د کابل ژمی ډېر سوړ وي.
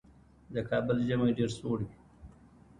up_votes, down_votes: 2, 1